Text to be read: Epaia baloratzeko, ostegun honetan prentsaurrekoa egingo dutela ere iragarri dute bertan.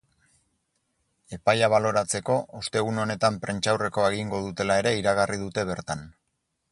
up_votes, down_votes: 6, 0